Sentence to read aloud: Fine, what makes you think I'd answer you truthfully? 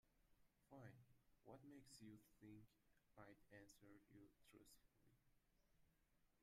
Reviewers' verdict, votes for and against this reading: rejected, 0, 2